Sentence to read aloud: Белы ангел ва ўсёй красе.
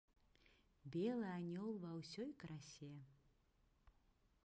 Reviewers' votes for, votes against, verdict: 1, 2, rejected